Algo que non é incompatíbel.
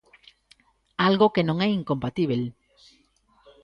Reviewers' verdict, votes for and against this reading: accepted, 2, 0